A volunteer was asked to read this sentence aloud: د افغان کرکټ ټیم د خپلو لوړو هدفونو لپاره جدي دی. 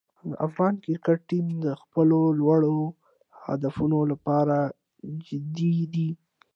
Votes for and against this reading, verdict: 2, 0, accepted